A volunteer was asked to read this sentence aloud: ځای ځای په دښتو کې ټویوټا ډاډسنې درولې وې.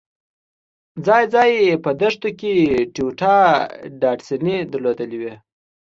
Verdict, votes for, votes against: accepted, 2, 1